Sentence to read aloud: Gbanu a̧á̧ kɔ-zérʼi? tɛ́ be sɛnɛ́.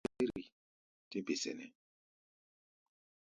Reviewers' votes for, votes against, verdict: 0, 2, rejected